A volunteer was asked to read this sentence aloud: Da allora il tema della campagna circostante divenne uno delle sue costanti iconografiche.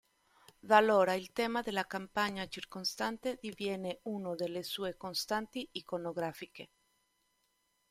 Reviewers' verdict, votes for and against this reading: rejected, 0, 2